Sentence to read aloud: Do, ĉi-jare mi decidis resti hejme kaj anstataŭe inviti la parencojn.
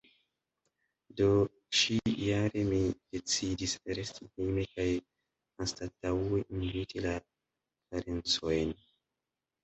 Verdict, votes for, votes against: rejected, 1, 2